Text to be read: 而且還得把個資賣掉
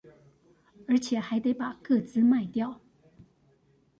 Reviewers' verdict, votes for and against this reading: accepted, 2, 0